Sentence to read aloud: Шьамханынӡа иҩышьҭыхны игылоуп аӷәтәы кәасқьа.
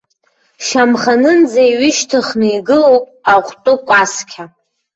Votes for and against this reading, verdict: 0, 2, rejected